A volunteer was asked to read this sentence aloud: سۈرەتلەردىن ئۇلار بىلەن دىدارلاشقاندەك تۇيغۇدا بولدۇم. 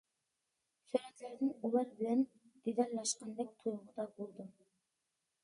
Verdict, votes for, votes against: rejected, 1, 2